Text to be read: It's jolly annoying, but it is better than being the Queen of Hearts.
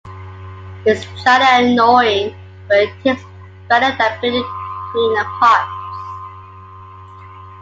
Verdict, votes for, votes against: accepted, 2, 0